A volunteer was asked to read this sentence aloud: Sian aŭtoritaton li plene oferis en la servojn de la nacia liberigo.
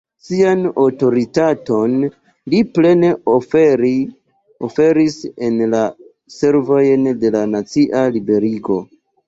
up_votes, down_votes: 2, 0